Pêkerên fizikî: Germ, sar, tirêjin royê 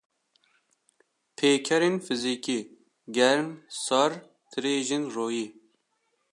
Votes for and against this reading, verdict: 1, 2, rejected